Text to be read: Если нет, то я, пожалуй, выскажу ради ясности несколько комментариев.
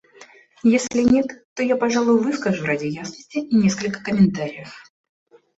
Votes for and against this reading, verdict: 2, 0, accepted